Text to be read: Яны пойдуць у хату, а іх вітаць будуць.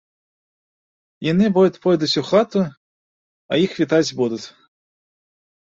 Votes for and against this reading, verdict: 1, 2, rejected